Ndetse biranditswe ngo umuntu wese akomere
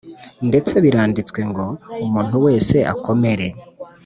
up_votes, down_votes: 0, 2